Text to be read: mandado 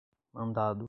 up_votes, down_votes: 2, 0